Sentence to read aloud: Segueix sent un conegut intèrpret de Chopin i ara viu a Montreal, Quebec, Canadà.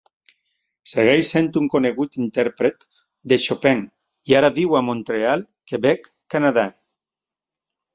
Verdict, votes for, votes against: accepted, 4, 0